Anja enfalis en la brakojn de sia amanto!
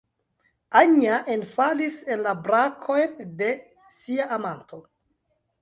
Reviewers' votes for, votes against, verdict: 0, 2, rejected